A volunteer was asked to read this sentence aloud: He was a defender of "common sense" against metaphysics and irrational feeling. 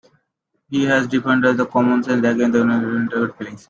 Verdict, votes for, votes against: rejected, 0, 2